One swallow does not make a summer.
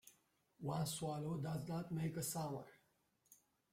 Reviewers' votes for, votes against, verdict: 1, 2, rejected